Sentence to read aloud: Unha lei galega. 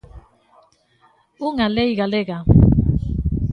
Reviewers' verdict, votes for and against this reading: accepted, 2, 0